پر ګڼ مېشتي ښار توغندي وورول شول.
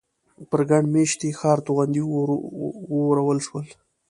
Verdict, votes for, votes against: accepted, 2, 0